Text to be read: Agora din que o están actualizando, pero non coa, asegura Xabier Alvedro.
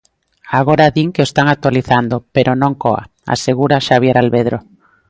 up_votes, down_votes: 2, 0